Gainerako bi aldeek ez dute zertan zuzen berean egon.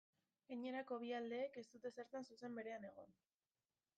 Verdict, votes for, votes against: accepted, 2, 0